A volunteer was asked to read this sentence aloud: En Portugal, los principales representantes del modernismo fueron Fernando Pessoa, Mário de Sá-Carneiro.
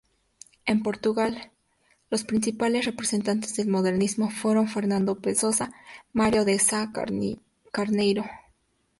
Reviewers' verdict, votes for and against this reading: accepted, 2, 0